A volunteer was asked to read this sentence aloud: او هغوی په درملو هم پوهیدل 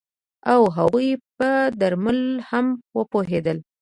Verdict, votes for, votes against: rejected, 1, 2